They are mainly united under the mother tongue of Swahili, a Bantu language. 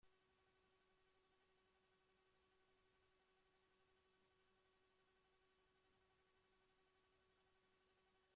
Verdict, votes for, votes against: rejected, 0, 2